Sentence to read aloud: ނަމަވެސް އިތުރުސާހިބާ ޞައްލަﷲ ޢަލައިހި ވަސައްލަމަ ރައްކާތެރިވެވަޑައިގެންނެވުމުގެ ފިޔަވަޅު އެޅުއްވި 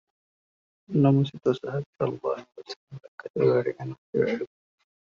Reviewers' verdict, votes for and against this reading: rejected, 1, 2